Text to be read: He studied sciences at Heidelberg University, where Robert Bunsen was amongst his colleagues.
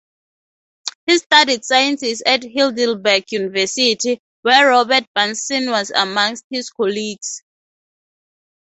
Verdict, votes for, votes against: accepted, 2, 0